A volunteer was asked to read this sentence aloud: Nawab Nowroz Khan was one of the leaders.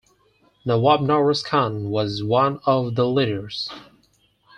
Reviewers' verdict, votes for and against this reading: accepted, 4, 0